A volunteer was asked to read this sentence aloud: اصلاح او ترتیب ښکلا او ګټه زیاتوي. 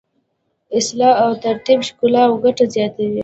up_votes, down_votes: 0, 2